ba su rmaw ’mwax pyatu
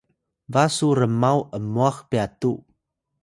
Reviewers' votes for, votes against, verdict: 2, 0, accepted